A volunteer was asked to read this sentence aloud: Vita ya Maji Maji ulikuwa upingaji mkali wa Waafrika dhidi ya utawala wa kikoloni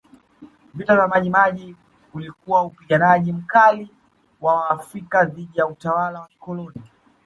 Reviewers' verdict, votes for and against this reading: rejected, 1, 2